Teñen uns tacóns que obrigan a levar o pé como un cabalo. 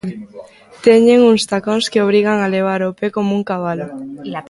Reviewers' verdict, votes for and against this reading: accepted, 2, 0